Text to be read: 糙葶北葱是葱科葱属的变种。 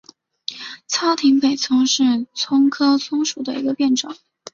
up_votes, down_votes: 3, 0